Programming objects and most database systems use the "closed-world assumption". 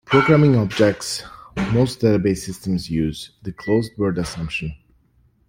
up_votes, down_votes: 0, 2